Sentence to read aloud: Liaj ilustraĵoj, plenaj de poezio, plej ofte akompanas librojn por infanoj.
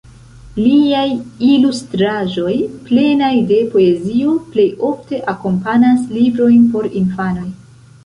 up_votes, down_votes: 1, 2